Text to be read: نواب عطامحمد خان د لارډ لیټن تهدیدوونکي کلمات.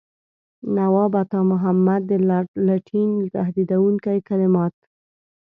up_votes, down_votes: 0, 2